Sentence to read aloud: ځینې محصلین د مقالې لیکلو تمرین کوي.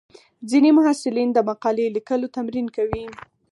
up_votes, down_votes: 4, 0